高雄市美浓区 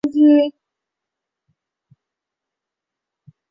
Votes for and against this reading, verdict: 0, 2, rejected